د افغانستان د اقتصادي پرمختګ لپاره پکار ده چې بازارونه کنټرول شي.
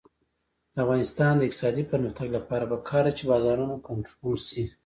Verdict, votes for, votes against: rejected, 1, 2